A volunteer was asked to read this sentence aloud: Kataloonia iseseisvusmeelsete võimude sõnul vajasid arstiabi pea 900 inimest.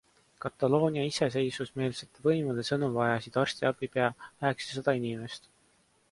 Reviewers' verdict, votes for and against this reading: rejected, 0, 2